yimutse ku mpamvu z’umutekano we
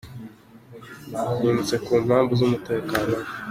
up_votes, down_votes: 2, 0